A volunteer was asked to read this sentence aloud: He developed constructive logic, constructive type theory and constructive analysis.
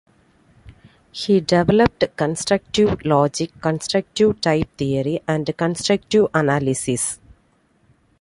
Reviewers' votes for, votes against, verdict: 1, 2, rejected